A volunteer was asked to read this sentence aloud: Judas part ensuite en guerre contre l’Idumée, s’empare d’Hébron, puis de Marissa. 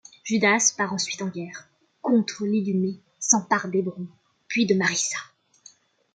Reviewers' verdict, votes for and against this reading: accepted, 2, 1